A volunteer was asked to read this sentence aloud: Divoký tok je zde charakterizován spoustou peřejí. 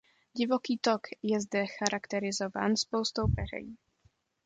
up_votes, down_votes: 2, 0